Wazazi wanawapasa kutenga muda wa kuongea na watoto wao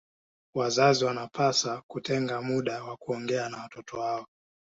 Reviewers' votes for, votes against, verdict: 1, 2, rejected